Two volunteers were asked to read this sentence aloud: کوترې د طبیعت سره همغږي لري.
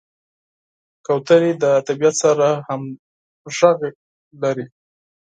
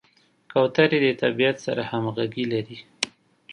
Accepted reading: second